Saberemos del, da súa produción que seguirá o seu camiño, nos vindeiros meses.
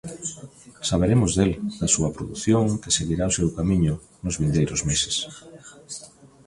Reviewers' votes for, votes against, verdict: 0, 2, rejected